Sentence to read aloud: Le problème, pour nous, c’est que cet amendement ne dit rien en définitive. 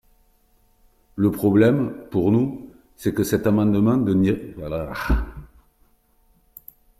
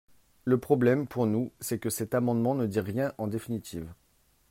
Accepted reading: second